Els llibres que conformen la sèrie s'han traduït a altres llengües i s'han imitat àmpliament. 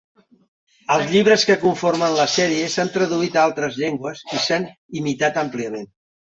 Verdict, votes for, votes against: accepted, 3, 0